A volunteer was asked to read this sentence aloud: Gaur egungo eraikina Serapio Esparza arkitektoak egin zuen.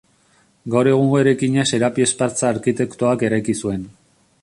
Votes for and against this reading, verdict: 1, 2, rejected